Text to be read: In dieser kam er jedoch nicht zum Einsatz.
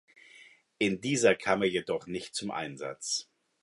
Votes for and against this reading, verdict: 2, 0, accepted